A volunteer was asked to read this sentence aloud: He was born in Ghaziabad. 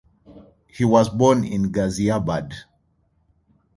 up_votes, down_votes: 2, 1